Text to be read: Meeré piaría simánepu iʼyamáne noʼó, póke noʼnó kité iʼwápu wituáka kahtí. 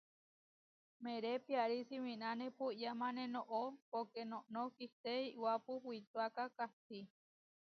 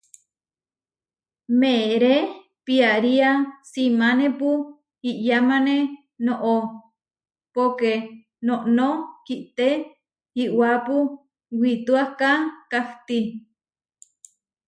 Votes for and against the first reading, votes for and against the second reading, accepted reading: 0, 2, 2, 0, second